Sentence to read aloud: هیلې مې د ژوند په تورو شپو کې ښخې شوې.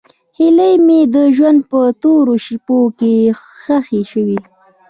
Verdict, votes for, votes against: accepted, 2, 0